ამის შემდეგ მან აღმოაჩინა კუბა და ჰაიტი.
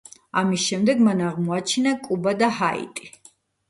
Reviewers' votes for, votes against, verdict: 2, 0, accepted